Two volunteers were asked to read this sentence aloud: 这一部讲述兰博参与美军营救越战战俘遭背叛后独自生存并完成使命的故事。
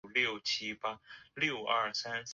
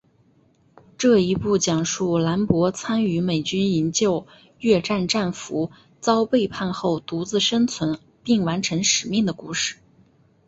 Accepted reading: second